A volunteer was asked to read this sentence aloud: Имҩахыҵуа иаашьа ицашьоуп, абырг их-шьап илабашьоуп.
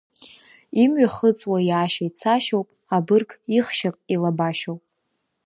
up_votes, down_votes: 2, 0